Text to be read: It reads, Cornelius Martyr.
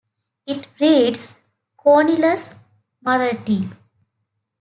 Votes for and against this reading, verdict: 0, 2, rejected